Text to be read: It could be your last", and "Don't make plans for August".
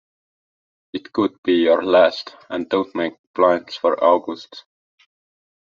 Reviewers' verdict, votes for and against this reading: accepted, 2, 0